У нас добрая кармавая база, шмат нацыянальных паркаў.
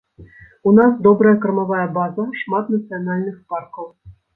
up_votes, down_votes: 2, 0